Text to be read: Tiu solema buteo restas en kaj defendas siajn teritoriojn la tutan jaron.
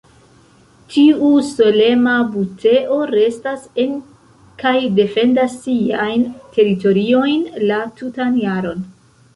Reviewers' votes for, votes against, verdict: 2, 1, accepted